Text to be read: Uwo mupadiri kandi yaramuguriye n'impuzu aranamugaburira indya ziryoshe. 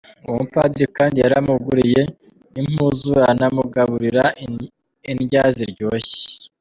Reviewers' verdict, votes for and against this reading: accepted, 2, 0